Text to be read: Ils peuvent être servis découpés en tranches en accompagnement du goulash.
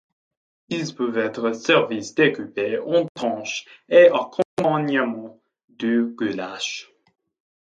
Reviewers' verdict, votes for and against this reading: rejected, 1, 2